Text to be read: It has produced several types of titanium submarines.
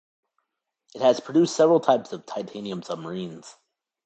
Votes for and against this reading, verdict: 2, 0, accepted